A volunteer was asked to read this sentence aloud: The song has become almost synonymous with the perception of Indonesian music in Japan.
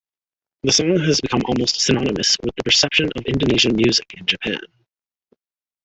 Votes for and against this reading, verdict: 1, 2, rejected